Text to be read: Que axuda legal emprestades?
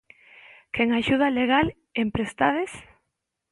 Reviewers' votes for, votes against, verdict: 0, 2, rejected